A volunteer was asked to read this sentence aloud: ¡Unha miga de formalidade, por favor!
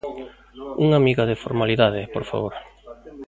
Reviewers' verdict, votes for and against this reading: rejected, 1, 2